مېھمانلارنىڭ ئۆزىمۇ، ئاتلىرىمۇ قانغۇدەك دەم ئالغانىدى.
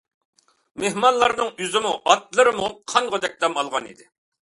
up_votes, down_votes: 2, 0